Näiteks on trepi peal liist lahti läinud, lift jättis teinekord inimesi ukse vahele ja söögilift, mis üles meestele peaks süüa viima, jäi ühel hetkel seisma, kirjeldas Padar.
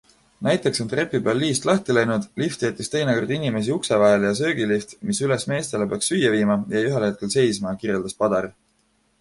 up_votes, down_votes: 2, 0